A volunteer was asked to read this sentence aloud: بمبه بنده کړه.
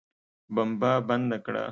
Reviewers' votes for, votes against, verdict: 2, 0, accepted